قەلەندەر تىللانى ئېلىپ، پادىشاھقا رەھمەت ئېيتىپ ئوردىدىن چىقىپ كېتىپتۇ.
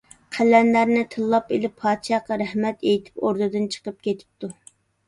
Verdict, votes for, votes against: rejected, 1, 2